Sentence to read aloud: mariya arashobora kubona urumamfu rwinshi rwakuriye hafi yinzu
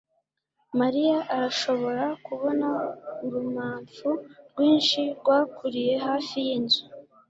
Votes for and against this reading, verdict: 2, 0, accepted